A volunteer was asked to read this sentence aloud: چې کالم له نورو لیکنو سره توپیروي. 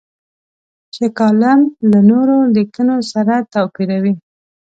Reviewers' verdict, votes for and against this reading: accepted, 2, 0